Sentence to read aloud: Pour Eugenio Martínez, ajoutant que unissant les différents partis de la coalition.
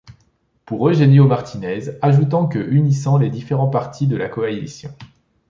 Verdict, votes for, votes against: accepted, 2, 0